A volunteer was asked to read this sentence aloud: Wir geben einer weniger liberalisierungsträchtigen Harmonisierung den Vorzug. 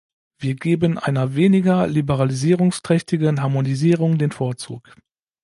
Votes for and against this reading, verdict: 2, 0, accepted